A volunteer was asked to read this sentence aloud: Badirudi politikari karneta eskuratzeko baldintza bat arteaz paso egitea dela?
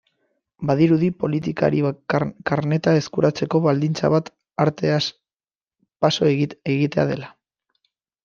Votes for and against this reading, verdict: 0, 3, rejected